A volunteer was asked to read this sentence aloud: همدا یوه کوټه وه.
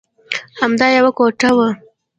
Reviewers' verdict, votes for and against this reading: accepted, 2, 0